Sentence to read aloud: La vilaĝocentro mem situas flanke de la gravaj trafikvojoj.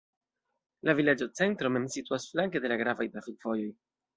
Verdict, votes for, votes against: rejected, 1, 2